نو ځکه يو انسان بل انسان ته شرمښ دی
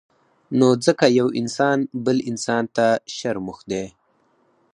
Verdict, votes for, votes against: rejected, 0, 4